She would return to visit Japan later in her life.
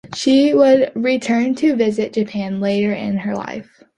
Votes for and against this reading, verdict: 2, 0, accepted